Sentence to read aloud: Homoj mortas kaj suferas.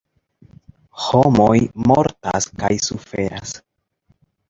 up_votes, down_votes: 2, 1